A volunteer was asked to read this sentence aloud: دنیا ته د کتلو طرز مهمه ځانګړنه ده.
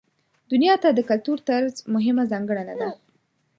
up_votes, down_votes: 4, 0